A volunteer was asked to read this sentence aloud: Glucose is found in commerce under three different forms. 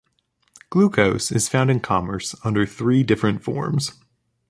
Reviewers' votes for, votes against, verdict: 2, 0, accepted